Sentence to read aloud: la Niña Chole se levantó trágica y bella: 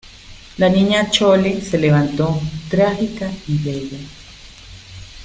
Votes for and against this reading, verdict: 2, 0, accepted